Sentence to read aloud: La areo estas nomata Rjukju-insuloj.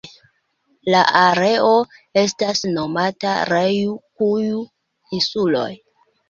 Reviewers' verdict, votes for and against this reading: accepted, 2, 1